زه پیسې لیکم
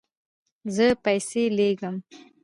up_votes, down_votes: 1, 2